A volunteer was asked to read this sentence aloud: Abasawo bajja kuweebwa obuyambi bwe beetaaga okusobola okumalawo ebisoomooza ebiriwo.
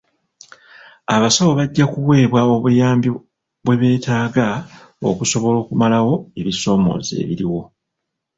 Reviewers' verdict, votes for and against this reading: accepted, 2, 0